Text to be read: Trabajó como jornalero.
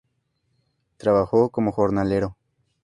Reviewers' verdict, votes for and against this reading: accepted, 2, 0